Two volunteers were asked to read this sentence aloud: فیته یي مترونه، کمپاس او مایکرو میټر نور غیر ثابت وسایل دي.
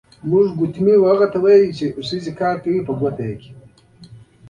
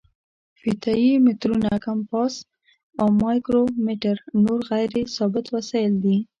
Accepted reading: second